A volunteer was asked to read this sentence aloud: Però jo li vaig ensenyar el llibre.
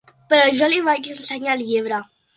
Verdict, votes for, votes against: accepted, 2, 0